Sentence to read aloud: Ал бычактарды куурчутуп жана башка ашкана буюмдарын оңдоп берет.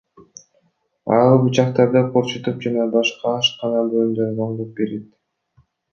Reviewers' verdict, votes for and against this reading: rejected, 1, 2